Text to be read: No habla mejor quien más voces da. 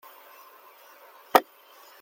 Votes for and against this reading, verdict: 0, 2, rejected